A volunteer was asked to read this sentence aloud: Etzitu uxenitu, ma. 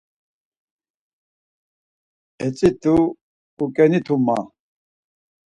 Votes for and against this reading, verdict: 2, 4, rejected